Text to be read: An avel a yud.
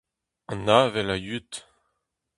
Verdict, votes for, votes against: rejected, 0, 2